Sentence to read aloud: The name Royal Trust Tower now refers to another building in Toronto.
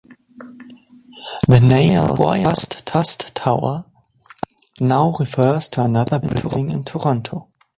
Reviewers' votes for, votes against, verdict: 0, 2, rejected